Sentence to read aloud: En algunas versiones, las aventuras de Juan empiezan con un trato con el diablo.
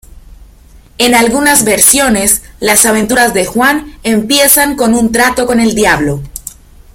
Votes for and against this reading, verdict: 2, 0, accepted